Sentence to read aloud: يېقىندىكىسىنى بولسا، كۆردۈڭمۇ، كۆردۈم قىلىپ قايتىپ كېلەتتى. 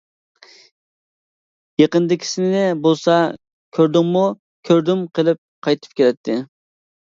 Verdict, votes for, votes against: accepted, 2, 1